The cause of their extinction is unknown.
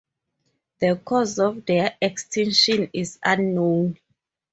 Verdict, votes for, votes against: accepted, 2, 0